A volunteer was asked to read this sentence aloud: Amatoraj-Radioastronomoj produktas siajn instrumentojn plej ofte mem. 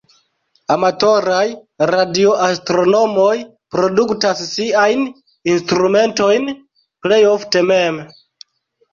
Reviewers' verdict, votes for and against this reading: accepted, 2, 0